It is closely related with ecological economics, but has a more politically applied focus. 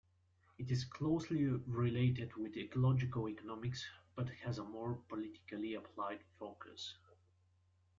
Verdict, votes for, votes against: accepted, 2, 1